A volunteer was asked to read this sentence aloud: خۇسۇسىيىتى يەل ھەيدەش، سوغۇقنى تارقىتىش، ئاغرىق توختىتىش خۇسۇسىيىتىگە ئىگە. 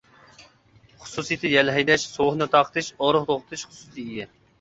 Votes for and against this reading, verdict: 0, 2, rejected